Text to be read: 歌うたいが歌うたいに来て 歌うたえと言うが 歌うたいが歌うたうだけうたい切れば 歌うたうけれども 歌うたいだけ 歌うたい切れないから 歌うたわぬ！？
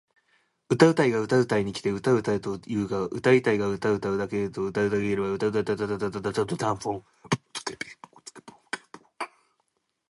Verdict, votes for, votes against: rejected, 3, 9